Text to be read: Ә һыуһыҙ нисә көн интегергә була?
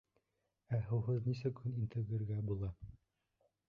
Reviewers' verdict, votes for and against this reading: rejected, 1, 2